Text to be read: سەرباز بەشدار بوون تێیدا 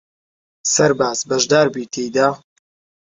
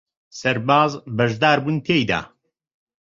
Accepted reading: second